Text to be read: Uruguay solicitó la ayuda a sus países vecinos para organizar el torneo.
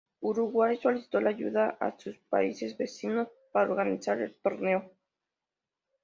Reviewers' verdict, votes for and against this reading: accepted, 2, 0